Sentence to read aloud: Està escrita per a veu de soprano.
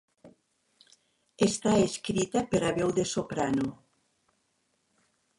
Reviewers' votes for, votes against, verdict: 4, 0, accepted